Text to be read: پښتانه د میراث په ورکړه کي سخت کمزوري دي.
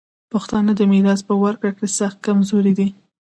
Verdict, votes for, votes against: accepted, 2, 0